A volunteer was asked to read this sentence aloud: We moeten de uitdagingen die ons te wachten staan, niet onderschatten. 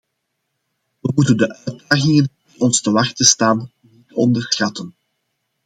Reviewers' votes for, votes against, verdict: 0, 2, rejected